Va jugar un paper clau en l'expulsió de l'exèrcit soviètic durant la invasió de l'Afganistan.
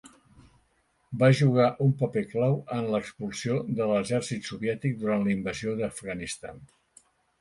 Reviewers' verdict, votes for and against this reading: rejected, 0, 2